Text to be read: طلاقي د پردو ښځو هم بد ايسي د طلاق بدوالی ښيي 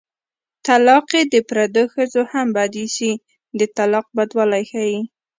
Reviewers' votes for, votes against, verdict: 2, 0, accepted